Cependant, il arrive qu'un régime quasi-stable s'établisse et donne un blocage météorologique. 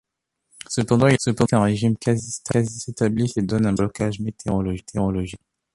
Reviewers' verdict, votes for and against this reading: rejected, 0, 3